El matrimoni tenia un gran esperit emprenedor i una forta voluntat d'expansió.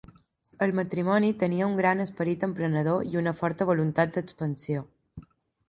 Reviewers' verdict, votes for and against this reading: accepted, 3, 0